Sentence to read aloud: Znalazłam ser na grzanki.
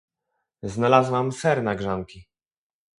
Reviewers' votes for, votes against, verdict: 2, 0, accepted